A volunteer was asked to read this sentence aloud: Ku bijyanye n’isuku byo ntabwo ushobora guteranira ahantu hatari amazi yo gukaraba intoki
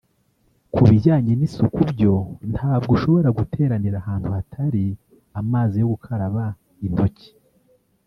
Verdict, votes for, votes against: rejected, 1, 2